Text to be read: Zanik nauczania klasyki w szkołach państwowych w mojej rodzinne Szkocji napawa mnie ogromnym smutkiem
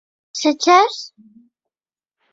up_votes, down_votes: 0, 2